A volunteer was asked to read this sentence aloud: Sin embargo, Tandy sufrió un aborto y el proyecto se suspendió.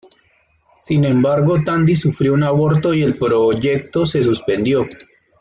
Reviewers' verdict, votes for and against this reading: accepted, 2, 1